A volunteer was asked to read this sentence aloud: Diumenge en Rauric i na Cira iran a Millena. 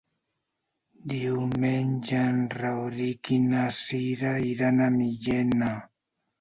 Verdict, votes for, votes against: rejected, 1, 2